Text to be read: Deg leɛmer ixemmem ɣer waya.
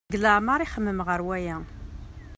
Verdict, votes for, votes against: accepted, 2, 0